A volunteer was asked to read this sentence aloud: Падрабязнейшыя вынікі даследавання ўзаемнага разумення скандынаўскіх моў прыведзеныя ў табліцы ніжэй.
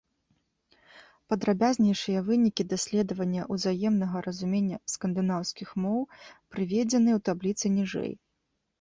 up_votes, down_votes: 2, 0